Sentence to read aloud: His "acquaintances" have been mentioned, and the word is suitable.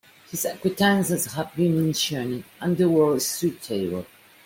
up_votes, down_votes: 0, 2